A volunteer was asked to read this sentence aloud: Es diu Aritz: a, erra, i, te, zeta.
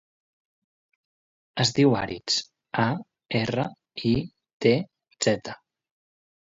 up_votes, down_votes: 2, 0